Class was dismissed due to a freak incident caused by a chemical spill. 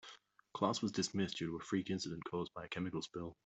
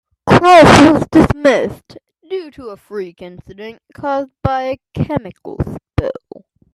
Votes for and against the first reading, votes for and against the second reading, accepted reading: 3, 0, 0, 2, first